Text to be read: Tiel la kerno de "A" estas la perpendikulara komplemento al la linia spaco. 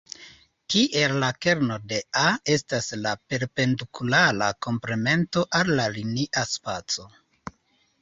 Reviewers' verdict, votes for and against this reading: rejected, 0, 2